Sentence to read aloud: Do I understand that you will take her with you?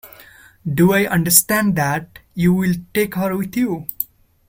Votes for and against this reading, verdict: 2, 0, accepted